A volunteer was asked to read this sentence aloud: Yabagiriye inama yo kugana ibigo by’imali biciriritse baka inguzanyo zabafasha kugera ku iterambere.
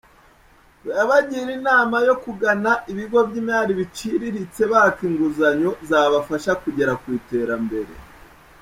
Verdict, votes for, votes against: accepted, 2, 0